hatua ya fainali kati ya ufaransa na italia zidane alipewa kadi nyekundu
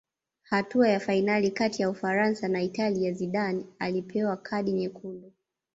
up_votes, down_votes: 2, 0